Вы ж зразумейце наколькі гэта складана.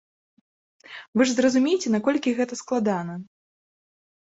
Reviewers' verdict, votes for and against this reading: accepted, 2, 0